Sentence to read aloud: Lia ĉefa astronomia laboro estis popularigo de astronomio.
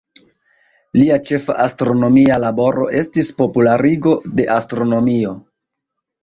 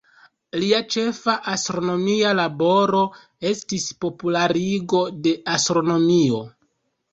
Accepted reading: second